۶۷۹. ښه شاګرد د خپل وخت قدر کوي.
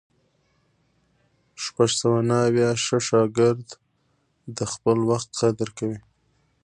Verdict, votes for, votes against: rejected, 0, 2